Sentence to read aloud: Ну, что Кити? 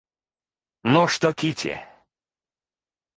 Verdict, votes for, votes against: rejected, 0, 2